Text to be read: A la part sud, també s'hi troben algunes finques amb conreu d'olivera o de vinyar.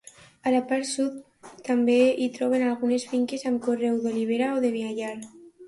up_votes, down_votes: 0, 4